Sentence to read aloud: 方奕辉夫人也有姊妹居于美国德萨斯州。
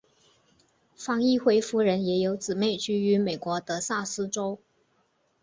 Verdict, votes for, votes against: accepted, 2, 0